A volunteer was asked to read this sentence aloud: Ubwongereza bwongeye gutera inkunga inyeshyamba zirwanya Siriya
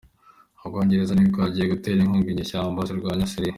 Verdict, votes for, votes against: accepted, 2, 0